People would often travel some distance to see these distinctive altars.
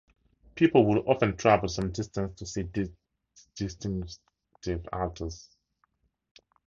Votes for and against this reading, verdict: 0, 2, rejected